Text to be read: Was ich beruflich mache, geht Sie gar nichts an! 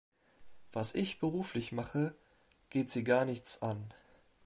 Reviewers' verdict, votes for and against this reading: accepted, 3, 0